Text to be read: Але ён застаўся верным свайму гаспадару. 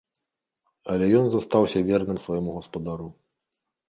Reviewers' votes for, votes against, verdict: 2, 0, accepted